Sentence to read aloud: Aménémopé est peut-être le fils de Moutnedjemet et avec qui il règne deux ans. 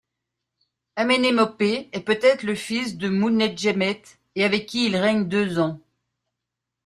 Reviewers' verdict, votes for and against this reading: accepted, 3, 0